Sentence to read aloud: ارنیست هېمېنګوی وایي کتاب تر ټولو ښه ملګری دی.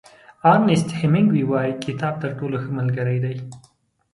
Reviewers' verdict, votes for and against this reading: accepted, 2, 0